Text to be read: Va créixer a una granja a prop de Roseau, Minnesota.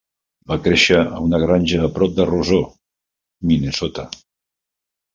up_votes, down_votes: 0, 2